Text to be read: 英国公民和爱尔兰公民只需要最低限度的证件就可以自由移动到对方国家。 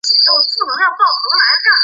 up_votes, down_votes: 1, 4